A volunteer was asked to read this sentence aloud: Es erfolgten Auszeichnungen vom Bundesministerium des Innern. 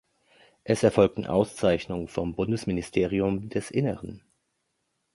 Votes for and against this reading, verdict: 1, 2, rejected